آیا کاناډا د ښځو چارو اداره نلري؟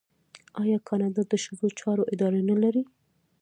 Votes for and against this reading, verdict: 0, 2, rejected